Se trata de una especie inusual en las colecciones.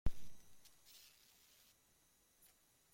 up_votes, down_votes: 0, 2